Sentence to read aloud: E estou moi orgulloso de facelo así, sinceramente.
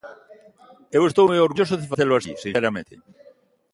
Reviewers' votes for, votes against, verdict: 0, 2, rejected